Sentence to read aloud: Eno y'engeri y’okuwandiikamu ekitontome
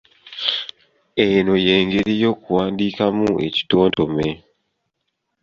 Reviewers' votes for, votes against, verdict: 2, 0, accepted